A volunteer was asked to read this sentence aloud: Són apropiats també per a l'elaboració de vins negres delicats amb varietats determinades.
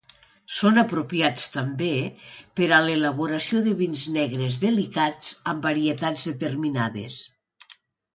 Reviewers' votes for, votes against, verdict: 2, 0, accepted